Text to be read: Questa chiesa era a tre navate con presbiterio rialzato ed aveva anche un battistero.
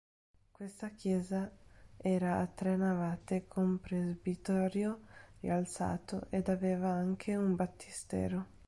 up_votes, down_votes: 1, 2